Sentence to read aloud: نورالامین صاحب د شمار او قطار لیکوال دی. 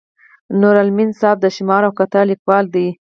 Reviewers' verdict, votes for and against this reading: rejected, 0, 4